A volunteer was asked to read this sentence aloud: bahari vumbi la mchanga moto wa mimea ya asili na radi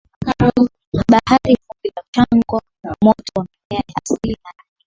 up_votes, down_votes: 0, 2